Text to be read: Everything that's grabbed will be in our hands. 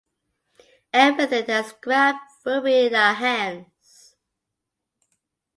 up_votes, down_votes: 2, 0